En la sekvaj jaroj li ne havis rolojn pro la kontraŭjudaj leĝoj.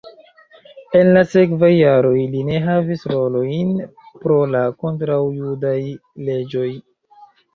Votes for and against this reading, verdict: 2, 0, accepted